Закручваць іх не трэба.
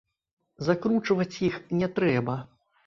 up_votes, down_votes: 1, 2